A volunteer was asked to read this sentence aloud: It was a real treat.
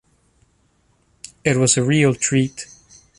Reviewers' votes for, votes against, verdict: 1, 2, rejected